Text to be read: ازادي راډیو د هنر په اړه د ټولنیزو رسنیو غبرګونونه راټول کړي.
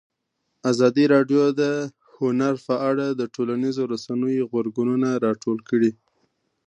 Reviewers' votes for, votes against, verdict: 2, 0, accepted